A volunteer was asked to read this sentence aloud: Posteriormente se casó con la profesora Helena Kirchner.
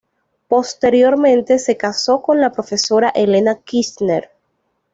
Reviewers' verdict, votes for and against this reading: accepted, 2, 0